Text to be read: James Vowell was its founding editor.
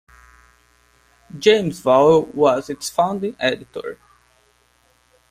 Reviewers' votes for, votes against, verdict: 2, 0, accepted